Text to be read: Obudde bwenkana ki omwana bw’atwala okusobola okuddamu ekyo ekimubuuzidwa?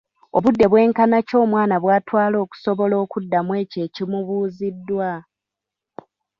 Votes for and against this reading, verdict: 0, 2, rejected